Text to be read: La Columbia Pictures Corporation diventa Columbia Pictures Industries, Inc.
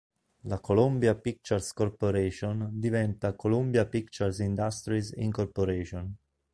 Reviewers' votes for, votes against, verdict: 1, 2, rejected